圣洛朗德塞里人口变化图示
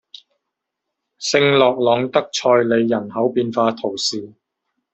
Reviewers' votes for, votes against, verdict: 1, 2, rejected